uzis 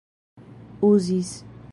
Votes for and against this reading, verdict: 2, 0, accepted